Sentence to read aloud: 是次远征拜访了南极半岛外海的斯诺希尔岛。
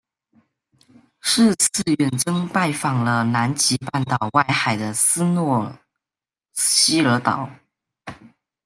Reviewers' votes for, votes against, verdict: 0, 2, rejected